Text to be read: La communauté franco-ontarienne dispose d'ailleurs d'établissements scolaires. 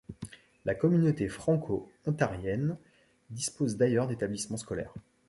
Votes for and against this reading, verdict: 2, 0, accepted